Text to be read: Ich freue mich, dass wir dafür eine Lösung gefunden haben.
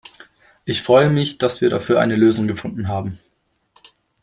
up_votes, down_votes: 2, 0